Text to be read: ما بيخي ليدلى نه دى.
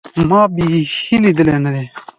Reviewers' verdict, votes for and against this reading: rejected, 1, 2